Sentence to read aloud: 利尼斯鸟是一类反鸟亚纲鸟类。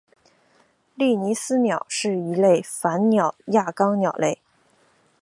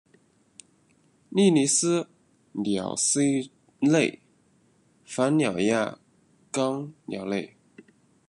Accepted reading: first